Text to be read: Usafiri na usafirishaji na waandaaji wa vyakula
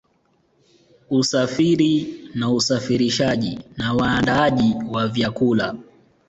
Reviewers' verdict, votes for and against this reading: accepted, 2, 0